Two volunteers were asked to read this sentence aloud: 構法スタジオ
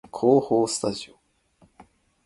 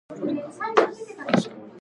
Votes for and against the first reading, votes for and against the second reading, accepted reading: 2, 0, 0, 2, first